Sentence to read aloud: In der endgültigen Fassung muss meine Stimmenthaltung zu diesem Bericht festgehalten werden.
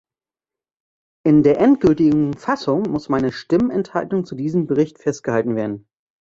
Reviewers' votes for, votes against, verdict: 2, 1, accepted